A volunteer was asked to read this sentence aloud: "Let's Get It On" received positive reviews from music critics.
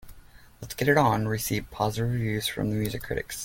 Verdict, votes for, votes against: rejected, 1, 2